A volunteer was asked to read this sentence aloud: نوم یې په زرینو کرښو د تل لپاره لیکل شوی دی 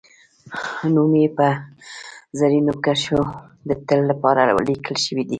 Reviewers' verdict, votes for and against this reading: rejected, 0, 2